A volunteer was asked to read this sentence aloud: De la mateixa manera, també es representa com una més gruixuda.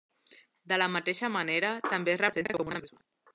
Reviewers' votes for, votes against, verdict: 0, 2, rejected